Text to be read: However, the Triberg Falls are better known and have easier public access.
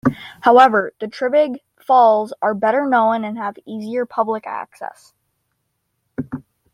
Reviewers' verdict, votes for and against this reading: accepted, 2, 0